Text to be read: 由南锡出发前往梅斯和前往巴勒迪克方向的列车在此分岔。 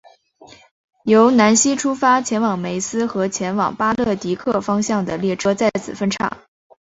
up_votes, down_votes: 4, 1